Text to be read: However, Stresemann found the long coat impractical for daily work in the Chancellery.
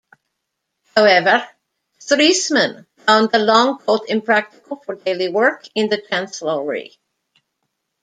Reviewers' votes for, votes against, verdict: 1, 2, rejected